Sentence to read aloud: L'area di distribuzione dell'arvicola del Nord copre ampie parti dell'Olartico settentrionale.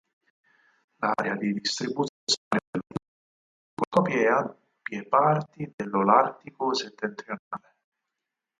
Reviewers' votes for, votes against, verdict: 0, 4, rejected